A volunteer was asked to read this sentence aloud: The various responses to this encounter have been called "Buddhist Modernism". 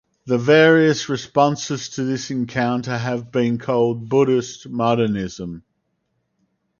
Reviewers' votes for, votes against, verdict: 4, 0, accepted